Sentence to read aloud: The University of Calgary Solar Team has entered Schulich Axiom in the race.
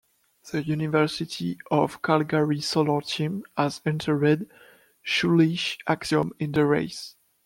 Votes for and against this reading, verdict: 1, 2, rejected